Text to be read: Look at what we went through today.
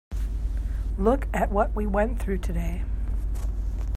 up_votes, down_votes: 3, 0